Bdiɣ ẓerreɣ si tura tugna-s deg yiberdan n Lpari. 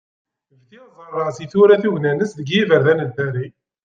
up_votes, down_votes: 1, 2